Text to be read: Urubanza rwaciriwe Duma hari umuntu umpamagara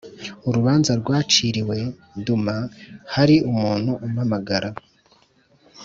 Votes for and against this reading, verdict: 2, 0, accepted